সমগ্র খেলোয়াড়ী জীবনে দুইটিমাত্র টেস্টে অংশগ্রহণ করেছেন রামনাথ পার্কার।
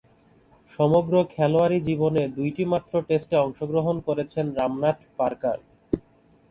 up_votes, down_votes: 2, 0